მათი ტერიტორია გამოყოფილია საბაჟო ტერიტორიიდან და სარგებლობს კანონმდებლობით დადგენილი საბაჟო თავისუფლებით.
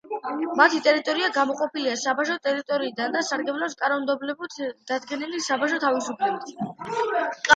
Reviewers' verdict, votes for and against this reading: accepted, 2, 0